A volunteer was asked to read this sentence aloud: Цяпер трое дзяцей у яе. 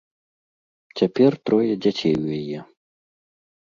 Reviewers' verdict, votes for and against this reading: accepted, 2, 0